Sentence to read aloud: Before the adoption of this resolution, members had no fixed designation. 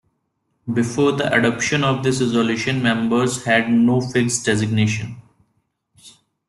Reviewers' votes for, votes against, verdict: 2, 0, accepted